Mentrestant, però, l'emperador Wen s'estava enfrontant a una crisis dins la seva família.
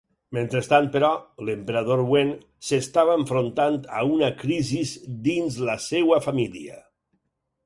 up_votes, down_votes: 4, 0